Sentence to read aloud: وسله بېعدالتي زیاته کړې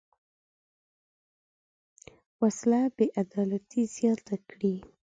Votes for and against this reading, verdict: 0, 2, rejected